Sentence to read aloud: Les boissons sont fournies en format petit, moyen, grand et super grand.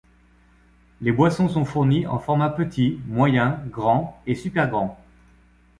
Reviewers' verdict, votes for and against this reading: accepted, 2, 0